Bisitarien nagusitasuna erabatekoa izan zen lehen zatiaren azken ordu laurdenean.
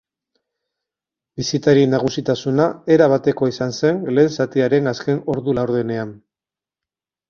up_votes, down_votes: 4, 0